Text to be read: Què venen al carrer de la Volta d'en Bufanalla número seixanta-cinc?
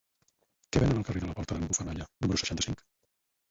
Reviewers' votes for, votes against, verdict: 2, 4, rejected